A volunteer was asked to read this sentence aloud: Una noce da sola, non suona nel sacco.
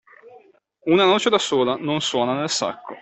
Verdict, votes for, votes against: accepted, 2, 0